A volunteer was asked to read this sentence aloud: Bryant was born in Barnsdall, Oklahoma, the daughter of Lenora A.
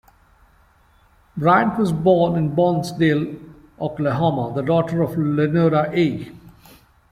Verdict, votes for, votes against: accepted, 2, 1